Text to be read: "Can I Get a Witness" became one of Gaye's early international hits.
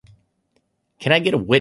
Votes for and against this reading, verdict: 1, 2, rejected